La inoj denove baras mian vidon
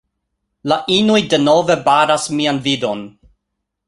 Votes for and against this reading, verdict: 2, 0, accepted